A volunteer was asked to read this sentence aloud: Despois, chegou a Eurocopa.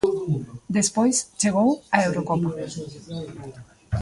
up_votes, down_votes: 1, 2